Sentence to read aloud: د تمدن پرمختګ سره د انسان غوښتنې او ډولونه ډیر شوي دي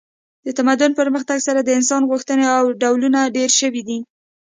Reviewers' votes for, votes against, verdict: 2, 0, accepted